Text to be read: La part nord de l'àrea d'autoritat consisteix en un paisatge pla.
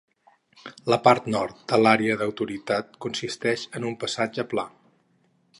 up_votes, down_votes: 0, 6